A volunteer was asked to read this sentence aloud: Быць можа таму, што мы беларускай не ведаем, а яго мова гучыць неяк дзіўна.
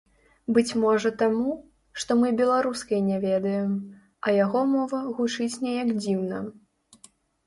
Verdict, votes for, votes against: rejected, 1, 2